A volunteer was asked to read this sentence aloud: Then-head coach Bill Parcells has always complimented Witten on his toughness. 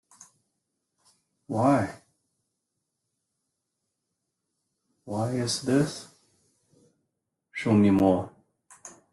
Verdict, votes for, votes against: rejected, 0, 2